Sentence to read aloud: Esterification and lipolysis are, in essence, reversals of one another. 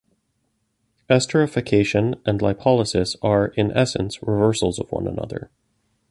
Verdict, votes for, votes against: rejected, 0, 2